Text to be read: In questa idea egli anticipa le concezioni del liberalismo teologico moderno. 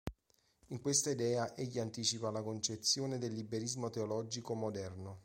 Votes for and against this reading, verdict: 0, 2, rejected